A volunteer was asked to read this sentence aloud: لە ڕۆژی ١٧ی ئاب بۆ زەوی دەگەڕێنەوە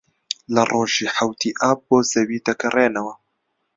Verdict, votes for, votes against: rejected, 0, 2